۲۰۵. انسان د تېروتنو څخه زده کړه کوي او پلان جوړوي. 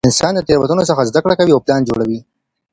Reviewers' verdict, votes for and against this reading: rejected, 0, 2